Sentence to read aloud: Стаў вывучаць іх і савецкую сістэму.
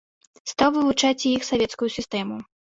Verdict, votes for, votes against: rejected, 0, 3